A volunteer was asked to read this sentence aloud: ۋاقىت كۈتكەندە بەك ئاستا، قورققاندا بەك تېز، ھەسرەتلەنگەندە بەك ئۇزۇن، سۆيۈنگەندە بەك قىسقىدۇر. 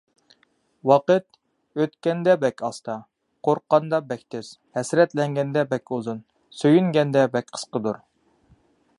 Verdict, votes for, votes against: rejected, 1, 2